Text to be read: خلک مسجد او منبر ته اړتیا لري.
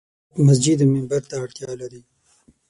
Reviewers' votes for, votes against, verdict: 0, 6, rejected